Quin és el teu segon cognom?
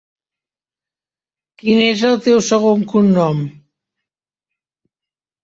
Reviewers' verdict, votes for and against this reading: rejected, 0, 2